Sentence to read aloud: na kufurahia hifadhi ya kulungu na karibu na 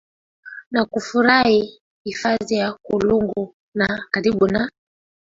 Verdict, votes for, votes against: accepted, 4, 3